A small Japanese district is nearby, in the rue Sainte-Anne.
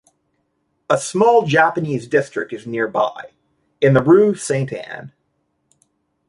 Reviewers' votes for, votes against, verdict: 2, 0, accepted